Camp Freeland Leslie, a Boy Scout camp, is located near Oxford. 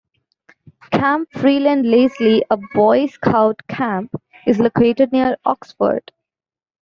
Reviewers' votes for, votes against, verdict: 2, 0, accepted